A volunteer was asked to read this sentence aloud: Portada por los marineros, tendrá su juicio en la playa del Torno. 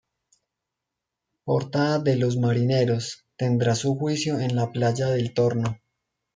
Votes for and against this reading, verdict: 0, 2, rejected